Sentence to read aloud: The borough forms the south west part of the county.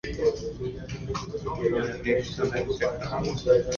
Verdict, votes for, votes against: rejected, 0, 2